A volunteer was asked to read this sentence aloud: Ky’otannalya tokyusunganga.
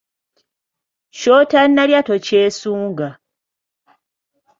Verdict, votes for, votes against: rejected, 0, 2